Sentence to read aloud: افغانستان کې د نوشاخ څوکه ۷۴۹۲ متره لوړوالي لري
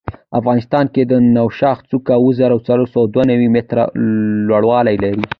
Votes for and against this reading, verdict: 0, 2, rejected